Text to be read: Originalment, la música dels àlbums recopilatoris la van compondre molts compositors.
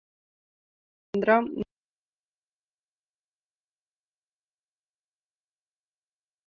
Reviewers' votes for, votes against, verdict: 0, 2, rejected